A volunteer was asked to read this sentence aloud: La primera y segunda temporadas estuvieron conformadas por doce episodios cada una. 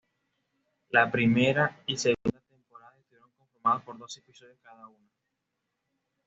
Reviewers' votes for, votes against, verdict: 1, 2, rejected